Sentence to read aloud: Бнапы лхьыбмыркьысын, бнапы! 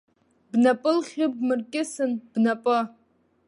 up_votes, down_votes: 2, 1